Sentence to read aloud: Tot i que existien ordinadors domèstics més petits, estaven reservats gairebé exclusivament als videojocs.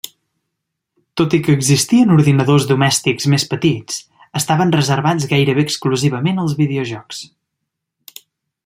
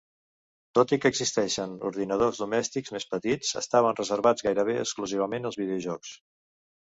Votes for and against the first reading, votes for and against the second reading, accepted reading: 3, 0, 1, 2, first